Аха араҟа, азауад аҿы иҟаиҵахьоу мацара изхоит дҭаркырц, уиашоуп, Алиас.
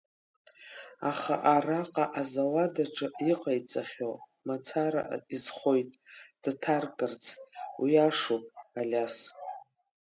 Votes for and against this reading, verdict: 3, 2, accepted